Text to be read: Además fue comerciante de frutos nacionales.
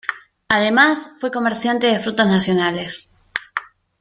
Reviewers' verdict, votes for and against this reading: accepted, 2, 1